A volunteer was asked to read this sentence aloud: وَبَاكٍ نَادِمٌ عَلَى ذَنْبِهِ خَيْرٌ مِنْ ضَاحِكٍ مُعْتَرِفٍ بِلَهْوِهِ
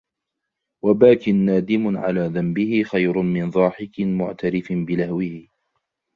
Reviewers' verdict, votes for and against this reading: accepted, 2, 0